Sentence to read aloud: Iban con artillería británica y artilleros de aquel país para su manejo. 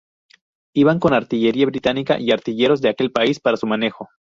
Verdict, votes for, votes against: accepted, 2, 0